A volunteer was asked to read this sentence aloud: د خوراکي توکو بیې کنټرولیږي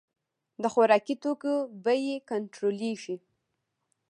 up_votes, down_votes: 2, 0